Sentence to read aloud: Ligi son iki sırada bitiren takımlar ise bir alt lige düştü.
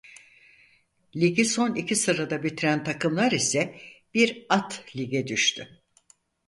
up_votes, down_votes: 0, 4